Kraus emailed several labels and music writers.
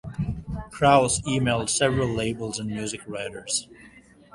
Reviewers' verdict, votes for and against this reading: accepted, 2, 1